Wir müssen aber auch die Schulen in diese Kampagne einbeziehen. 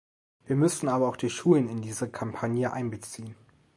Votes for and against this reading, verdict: 2, 0, accepted